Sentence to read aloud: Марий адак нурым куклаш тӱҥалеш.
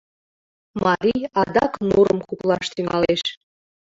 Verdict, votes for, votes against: rejected, 0, 2